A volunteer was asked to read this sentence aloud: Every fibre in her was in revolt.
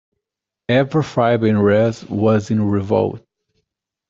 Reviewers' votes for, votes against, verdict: 1, 2, rejected